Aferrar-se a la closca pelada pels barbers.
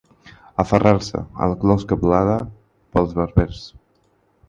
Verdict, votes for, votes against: accepted, 4, 0